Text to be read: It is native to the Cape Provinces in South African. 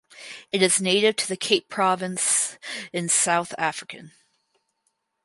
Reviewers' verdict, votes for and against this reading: rejected, 0, 4